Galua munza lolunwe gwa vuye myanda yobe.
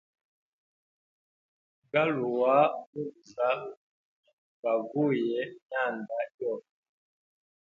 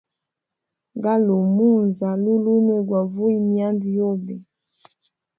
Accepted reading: second